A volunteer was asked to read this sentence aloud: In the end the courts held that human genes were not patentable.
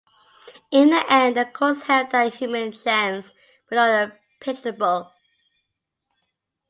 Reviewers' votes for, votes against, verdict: 0, 2, rejected